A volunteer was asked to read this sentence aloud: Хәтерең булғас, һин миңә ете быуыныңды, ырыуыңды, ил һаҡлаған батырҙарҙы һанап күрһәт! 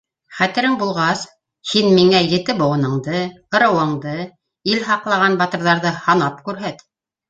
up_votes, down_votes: 0, 2